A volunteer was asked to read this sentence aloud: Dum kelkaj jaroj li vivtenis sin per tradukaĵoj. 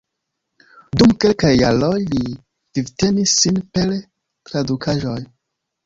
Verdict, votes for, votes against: rejected, 1, 3